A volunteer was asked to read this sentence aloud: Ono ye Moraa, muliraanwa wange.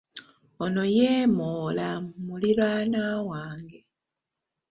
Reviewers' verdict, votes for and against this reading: rejected, 1, 2